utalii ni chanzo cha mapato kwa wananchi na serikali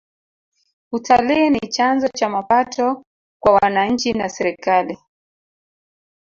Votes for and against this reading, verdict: 0, 2, rejected